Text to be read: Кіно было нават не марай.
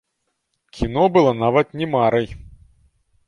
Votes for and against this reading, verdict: 2, 1, accepted